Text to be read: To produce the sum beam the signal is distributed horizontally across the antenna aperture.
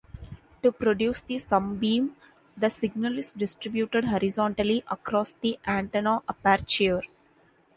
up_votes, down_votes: 2, 0